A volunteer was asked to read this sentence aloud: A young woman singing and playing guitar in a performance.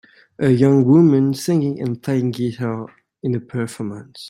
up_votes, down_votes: 2, 1